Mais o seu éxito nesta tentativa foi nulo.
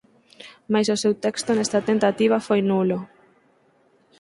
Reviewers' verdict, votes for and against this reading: rejected, 0, 4